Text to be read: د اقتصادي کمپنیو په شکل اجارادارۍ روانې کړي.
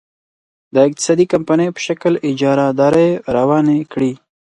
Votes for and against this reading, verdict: 4, 0, accepted